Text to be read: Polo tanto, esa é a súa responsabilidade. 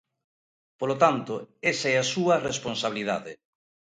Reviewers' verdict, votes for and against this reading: accepted, 2, 0